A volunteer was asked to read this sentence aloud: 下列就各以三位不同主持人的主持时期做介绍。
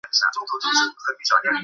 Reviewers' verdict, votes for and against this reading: rejected, 0, 2